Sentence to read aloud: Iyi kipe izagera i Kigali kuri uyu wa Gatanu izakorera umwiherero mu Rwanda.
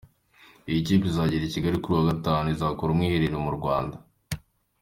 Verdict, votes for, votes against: accepted, 3, 0